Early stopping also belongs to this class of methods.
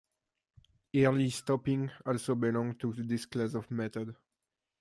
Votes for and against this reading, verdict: 1, 2, rejected